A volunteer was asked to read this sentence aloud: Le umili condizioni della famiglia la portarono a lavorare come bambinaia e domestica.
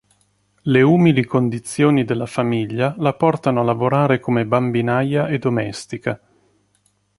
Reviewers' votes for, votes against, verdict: 1, 2, rejected